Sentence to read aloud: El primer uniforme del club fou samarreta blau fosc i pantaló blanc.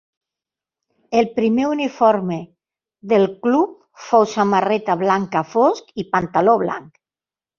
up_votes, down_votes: 0, 2